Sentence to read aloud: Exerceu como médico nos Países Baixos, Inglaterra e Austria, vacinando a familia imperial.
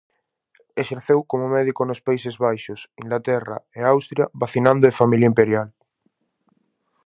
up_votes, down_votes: 2, 2